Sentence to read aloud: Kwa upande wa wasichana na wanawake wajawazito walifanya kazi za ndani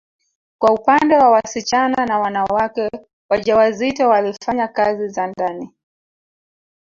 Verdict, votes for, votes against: rejected, 1, 2